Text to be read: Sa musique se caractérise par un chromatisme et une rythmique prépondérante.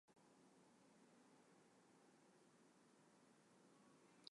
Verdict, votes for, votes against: rejected, 0, 2